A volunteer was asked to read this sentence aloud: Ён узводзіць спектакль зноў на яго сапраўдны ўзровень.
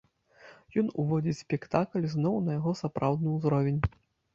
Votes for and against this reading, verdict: 1, 2, rejected